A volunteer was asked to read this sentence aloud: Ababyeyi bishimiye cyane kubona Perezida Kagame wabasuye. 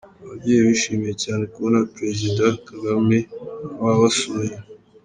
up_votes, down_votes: 2, 1